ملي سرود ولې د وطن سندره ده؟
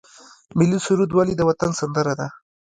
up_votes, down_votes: 1, 2